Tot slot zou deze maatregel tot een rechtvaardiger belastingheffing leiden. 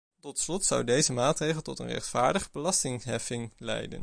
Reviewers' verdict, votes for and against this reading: rejected, 0, 2